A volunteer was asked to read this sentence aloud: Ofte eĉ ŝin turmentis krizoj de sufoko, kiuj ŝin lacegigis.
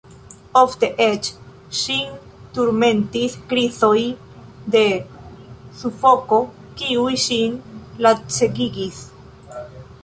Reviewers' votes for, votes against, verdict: 2, 1, accepted